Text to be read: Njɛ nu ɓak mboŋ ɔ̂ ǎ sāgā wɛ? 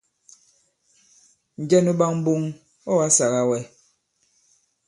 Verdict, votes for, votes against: accepted, 2, 0